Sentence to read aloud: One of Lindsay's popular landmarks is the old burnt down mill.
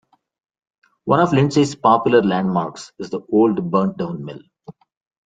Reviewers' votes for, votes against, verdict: 2, 0, accepted